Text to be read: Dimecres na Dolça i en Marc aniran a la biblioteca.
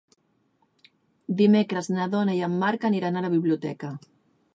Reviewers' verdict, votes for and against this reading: rejected, 0, 2